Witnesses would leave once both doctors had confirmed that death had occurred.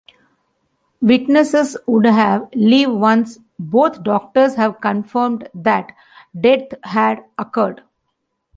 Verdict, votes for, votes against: rejected, 1, 2